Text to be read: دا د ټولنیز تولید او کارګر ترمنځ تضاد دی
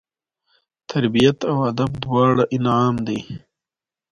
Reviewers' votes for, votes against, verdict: 0, 2, rejected